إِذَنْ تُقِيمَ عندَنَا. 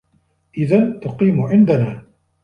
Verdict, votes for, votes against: accepted, 2, 1